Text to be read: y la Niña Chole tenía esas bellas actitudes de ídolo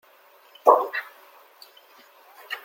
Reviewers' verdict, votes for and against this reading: rejected, 0, 2